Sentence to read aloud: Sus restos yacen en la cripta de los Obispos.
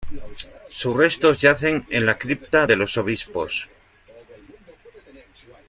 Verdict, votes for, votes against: accepted, 2, 0